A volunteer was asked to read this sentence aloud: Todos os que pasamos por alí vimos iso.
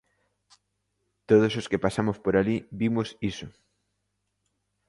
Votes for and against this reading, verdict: 2, 0, accepted